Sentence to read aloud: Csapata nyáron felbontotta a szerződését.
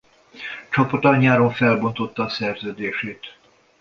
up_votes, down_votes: 2, 0